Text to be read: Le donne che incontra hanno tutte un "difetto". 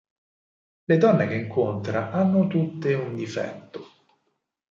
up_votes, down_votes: 4, 0